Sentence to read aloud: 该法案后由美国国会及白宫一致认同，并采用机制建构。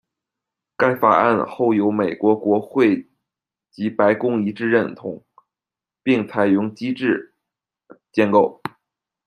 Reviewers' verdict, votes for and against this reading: rejected, 1, 2